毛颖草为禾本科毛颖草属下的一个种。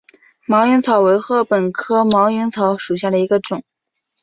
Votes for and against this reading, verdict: 2, 0, accepted